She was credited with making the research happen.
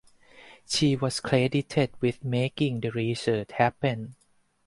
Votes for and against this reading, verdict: 4, 0, accepted